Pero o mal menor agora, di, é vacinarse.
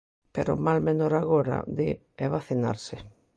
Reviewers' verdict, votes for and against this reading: accepted, 2, 0